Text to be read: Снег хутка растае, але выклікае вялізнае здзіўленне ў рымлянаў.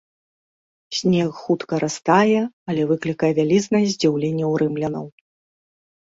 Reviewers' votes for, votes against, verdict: 2, 0, accepted